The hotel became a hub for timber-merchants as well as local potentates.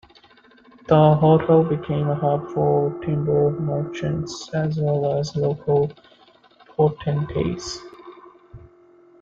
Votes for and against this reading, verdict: 2, 0, accepted